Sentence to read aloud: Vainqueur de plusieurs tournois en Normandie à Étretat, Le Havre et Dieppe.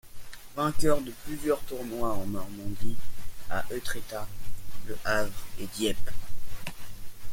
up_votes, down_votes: 2, 1